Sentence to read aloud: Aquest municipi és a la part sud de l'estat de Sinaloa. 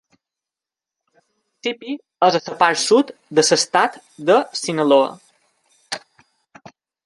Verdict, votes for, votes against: rejected, 0, 2